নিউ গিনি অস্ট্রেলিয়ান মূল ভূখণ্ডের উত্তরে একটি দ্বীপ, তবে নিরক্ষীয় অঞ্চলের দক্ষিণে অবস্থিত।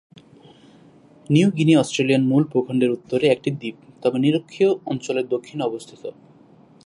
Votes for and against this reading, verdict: 4, 0, accepted